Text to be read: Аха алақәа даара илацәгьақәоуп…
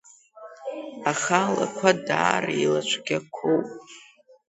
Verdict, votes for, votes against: rejected, 0, 2